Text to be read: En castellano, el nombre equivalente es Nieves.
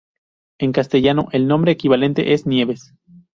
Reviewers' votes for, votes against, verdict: 2, 0, accepted